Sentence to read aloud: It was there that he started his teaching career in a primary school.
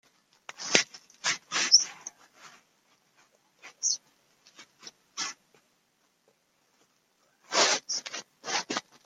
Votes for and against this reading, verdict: 0, 2, rejected